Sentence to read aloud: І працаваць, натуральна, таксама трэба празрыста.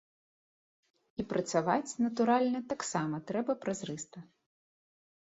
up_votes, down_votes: 2, 0